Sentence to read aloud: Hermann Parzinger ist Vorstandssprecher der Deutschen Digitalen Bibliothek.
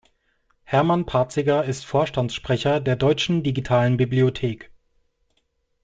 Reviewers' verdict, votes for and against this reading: rejected, 1, 2